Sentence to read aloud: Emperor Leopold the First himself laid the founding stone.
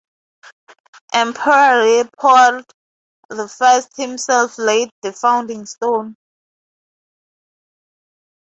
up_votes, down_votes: 2, 0